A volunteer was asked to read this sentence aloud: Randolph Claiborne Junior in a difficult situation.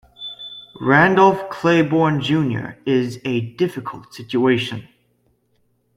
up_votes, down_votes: 0, 2